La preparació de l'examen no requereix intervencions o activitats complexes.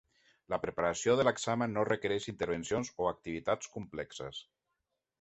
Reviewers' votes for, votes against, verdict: 3, 0, accepted